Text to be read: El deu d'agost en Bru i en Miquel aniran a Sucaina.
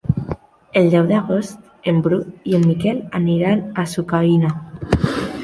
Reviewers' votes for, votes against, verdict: 1, 2, rejected